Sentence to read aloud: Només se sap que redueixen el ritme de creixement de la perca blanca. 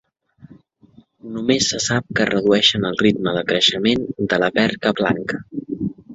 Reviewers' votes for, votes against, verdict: 3, 0, accepted